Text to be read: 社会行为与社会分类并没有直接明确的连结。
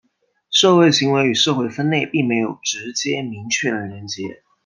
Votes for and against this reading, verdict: 2, 0, accepted